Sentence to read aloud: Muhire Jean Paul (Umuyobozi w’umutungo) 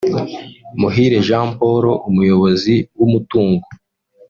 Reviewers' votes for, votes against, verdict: 2, 0, accepted